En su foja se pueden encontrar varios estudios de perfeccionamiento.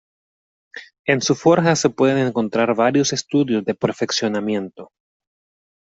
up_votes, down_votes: 0, 2